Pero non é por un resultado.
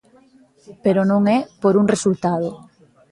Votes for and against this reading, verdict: 2, 0, accepted